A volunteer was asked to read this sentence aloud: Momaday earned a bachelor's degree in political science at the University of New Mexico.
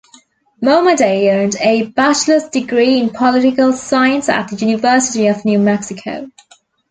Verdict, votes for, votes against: accepted, 2, 1